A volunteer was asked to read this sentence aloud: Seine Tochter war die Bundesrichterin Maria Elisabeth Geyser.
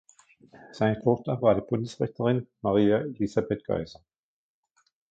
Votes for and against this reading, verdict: 1, 2, rejected